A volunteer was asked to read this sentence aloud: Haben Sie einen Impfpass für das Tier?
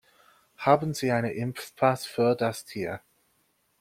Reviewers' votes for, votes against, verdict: 1, 2, rejected